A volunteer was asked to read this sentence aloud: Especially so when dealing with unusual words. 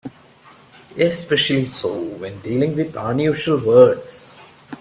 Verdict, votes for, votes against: accepted, 2, 0